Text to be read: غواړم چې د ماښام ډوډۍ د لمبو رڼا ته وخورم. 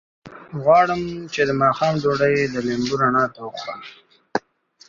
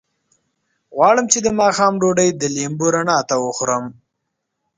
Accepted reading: first